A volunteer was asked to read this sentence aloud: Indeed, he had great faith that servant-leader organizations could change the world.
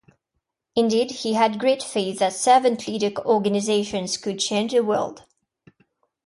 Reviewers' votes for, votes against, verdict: 1, 2, rejected